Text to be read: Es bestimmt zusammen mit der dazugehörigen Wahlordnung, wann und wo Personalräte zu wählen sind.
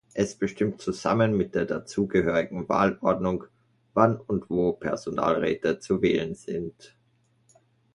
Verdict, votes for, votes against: accepted, 2, 0